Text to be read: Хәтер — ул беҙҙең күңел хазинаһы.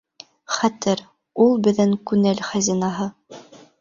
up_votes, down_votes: 1, 2